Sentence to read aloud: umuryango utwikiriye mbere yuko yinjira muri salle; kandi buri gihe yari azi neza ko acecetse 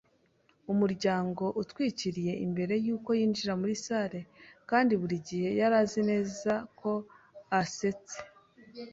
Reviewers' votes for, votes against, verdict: 0, 2, rejected